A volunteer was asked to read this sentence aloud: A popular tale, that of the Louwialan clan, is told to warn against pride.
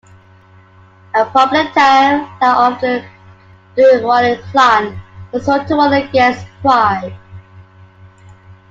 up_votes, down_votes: 1, 2